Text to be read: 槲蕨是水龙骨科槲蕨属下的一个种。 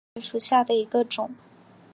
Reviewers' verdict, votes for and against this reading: accepted, 2, 0